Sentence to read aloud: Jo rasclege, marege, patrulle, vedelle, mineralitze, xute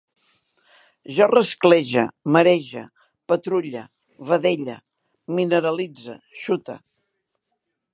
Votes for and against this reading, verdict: 2, 0, accepted